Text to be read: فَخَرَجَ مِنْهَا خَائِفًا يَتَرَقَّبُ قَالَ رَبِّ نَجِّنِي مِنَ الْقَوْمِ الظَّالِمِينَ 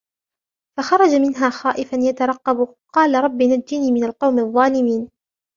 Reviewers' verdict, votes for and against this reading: accepted, 2, 0